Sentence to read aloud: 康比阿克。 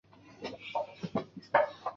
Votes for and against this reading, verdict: 0, 2, rejected